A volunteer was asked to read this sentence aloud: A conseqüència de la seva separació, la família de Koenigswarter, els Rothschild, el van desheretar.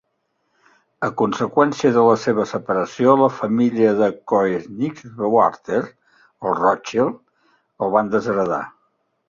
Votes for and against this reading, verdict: 1, 2, rejected